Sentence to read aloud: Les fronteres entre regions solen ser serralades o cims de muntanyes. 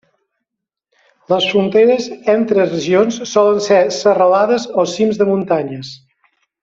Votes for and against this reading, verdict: 2, 0, accepted